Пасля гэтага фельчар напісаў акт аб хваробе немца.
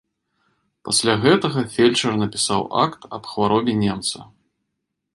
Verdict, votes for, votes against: accepted, 2, 0